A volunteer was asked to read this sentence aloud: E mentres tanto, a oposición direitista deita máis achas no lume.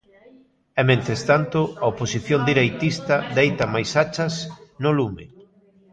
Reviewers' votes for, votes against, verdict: 1, 2, rejected